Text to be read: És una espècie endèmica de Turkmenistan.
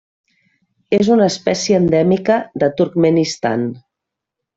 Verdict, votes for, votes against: accepted, 3, 0